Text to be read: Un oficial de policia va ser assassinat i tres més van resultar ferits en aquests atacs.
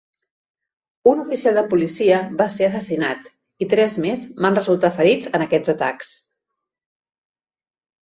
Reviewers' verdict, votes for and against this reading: accepted, 2, 1